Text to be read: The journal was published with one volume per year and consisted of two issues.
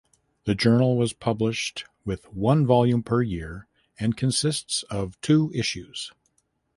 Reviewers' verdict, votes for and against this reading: rejected, 1, 2